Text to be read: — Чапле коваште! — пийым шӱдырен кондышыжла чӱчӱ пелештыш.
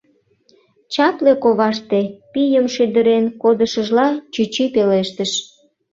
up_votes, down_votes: 1, 2